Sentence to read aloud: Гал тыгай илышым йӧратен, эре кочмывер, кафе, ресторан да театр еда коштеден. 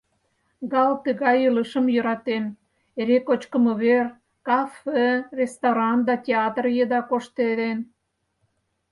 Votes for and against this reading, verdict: 0, 4, rejected